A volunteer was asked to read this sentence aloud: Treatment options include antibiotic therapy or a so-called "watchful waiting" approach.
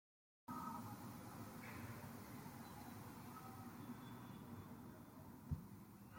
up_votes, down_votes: 0, 2